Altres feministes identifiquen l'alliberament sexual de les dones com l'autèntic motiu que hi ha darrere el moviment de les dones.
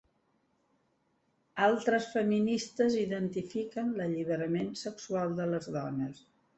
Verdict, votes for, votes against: rejected, 0, 3